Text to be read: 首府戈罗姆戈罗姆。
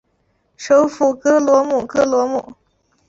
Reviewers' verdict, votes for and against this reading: accepted, 4, 0